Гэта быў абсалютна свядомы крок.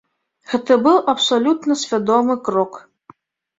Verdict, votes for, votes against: accepted, 2, 0